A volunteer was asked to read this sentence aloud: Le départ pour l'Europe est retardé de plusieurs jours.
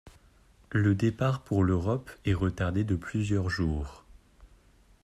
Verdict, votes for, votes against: accepted, 2, 0